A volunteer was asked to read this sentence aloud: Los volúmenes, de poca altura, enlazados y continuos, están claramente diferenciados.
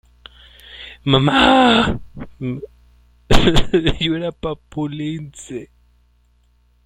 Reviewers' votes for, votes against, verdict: 0, 2, rejected